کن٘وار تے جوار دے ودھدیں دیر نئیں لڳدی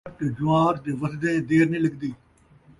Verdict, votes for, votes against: rejected, 0, 2